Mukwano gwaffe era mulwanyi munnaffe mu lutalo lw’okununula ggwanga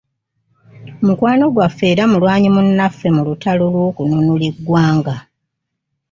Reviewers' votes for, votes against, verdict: 2, 0, accepted